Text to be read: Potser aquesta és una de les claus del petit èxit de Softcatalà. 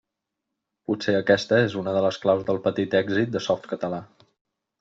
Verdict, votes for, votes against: accepted, 3, 0